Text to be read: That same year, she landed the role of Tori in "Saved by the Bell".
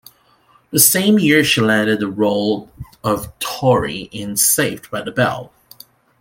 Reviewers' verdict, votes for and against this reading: rejected, 1, 2